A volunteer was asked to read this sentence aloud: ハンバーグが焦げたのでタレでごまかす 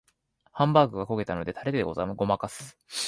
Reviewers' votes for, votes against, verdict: 0, 2, rejected